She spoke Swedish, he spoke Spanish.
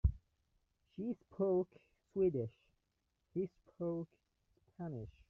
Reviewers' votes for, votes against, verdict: 0, 2, rejected